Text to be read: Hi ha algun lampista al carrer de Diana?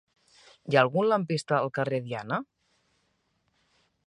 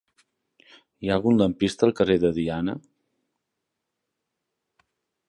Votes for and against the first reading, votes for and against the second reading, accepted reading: 0, 2, 3, 0, second